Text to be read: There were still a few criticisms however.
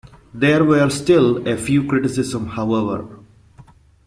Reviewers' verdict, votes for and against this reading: rejected, 0, 2